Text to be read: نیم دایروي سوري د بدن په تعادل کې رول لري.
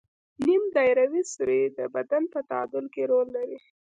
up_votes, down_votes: 1, 2